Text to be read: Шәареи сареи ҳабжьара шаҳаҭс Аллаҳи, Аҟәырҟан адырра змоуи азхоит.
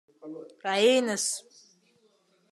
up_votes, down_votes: 0, 2